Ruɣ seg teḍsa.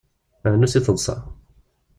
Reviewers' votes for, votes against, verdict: 1, 2, rejected